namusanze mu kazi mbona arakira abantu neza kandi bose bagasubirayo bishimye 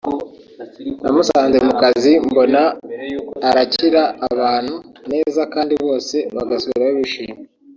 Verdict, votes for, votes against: rejected, 1, 2